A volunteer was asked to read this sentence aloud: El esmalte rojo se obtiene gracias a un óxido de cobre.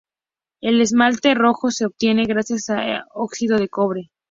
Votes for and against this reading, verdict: 0, 2, rejected